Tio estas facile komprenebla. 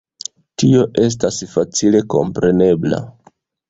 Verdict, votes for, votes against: accepted, 2, 0